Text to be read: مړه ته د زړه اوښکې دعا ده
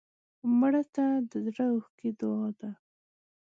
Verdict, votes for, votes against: accepted, 2, 0